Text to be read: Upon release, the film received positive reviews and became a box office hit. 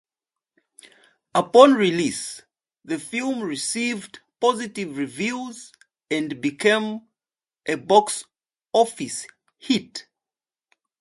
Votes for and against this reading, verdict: 2, 0, accepted